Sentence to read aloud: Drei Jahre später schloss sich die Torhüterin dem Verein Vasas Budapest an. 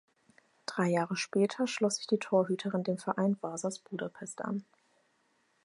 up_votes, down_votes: 4, 0